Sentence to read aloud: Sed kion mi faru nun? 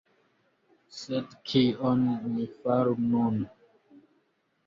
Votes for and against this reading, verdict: 3, 0, accepted